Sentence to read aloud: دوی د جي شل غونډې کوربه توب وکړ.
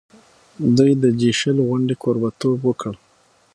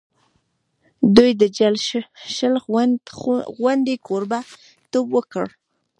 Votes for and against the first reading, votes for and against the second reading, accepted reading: 6, 3, 0, 2, first